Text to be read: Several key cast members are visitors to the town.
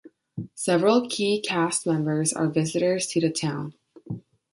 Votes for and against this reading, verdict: 2, 1, accepted